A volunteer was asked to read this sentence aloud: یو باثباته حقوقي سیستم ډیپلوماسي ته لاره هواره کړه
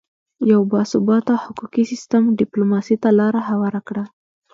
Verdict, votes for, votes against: accepted, 3, 0